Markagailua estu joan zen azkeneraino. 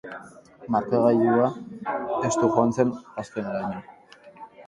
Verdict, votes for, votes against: accepted, 6, 0